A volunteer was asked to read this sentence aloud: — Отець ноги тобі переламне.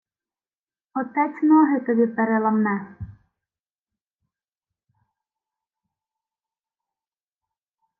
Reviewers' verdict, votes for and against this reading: accepted, 2, 0